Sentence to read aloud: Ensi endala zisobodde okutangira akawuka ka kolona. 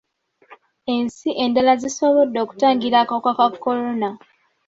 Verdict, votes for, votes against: accepted, 2, 1